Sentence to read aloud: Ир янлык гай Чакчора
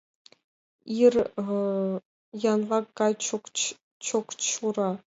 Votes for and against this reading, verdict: 0, 2, rejected